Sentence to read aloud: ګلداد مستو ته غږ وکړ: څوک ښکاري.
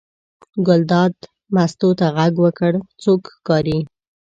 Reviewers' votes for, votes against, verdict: 2, 0, accepted